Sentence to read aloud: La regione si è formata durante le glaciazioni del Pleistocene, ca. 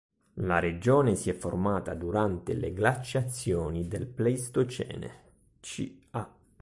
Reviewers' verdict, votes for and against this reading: rejected, 1, 2